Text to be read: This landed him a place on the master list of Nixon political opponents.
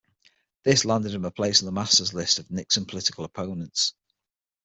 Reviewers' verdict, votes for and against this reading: rejected, 3, 6